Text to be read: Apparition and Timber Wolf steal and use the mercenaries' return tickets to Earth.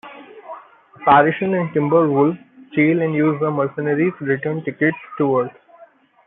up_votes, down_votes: 1, 2